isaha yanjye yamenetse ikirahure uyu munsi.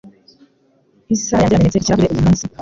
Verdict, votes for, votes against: rejected, 1, 2